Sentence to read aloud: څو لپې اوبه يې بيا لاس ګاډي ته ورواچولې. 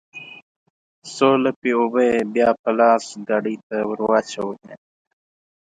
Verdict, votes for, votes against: rejected, 1, 2